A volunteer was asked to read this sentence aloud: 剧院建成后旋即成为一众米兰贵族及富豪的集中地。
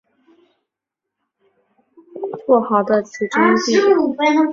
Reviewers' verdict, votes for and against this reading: rejected, 1, 4